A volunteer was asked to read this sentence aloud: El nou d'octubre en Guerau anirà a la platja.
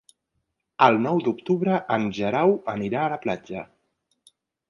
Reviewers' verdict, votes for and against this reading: rejected, 0, 2